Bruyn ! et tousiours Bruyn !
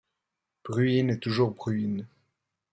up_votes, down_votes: 0, 2